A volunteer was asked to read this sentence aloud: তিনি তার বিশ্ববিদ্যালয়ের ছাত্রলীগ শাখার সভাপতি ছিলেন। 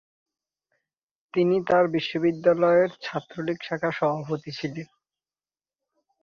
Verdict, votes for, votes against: rejected, 0, 2